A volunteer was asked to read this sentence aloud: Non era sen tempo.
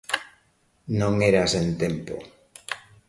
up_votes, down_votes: 2, 0